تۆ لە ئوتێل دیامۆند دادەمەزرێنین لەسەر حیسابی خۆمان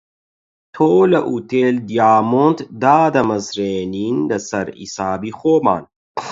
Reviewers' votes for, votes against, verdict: 4, 4, rejected